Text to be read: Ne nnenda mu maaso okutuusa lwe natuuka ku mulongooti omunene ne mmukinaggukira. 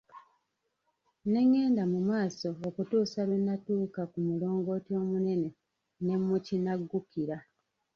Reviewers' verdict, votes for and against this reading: rejected, 0, 2